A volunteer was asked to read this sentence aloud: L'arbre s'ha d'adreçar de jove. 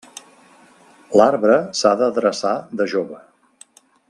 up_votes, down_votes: 2, 0